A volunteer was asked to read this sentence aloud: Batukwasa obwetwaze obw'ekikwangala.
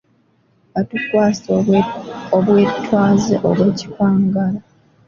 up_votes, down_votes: 2, 1